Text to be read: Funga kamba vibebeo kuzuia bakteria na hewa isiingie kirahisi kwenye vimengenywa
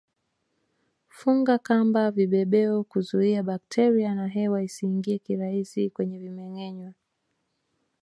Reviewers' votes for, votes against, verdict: 2, 0, accepted